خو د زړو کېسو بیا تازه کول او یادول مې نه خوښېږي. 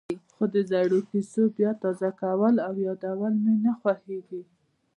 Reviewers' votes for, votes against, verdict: 2, 0, accepted